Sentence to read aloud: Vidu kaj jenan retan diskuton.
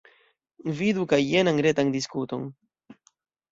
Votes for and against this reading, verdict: 2, 1, accepted